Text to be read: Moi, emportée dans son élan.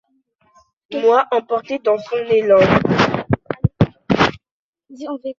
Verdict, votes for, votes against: rejected, 0, 2